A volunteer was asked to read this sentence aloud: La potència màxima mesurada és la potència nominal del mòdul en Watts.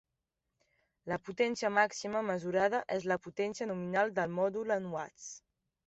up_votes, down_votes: 3, 0